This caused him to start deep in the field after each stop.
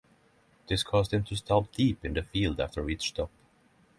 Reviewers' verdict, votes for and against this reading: accepted, 6, 3